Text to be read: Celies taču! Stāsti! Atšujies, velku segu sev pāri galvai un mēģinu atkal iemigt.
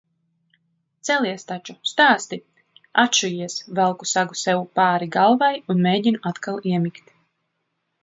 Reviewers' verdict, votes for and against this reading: accepted, 2, 0